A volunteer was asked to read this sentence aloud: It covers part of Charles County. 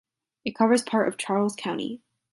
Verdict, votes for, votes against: accepted, 2, 0